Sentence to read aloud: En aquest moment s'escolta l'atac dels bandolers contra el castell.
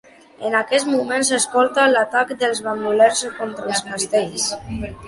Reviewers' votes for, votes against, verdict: 0, 3, rejected